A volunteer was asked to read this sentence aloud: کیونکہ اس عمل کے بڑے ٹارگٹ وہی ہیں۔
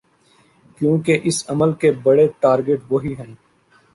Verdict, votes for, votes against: accepted, 2, 0